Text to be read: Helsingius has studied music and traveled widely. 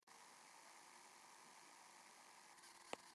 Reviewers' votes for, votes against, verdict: 0, 2, rejected